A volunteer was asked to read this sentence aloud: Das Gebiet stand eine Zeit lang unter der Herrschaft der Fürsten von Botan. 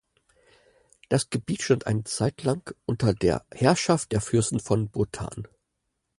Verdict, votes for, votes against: accepted, 4, 0